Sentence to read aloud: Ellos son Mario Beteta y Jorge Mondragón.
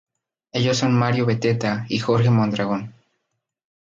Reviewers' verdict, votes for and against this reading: accepted, 4, 0